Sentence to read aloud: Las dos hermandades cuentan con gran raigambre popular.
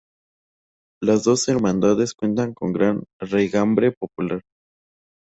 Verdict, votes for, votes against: accepted, 2, 0